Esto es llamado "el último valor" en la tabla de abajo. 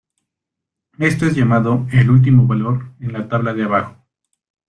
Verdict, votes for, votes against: accepted, 2, 0